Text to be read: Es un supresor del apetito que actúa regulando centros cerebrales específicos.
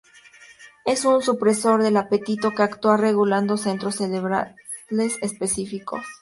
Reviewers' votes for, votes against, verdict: 2, 0, accepted